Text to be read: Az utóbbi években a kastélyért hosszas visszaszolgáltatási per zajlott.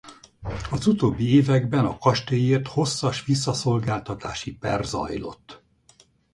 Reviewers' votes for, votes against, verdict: 2, 2, rejected